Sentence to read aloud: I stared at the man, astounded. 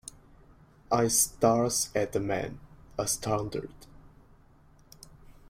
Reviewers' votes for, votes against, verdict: 0, 2, rejected